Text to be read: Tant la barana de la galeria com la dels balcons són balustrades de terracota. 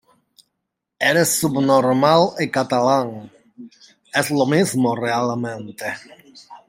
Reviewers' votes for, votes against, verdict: 0, 2, rejected